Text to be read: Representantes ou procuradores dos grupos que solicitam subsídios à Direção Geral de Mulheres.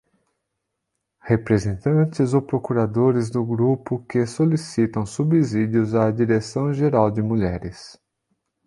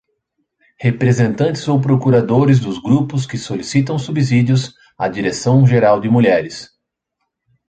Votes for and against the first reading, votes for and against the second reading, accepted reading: 0, 2, 2, 0, second